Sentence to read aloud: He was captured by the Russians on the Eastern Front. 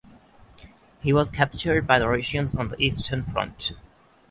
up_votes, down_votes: 6, 3